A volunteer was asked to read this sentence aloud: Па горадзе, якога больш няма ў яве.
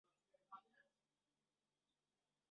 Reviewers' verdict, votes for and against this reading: rejected, 0, 2